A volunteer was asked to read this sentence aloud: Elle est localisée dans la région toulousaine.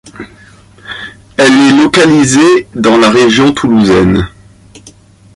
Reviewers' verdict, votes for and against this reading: accepted, 2, 0